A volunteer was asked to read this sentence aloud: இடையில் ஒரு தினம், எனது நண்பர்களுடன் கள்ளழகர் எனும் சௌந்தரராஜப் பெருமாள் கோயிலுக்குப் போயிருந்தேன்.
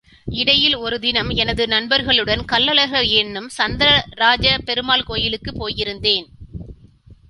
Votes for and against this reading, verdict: 2, 1, accepted